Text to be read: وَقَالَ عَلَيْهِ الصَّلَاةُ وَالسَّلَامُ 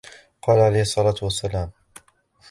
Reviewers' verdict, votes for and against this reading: rejected, 0, 2